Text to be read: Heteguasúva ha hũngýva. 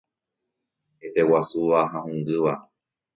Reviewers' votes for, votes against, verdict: 1, 2, rejected